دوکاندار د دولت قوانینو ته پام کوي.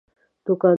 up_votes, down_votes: 0, 2